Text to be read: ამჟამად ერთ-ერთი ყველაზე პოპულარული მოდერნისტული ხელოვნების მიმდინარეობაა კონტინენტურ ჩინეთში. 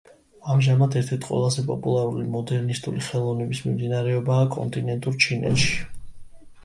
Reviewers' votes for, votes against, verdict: 2, 0, accepted